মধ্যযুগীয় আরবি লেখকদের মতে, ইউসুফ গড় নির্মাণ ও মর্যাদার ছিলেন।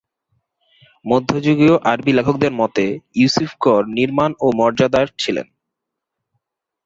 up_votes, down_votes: 11, 0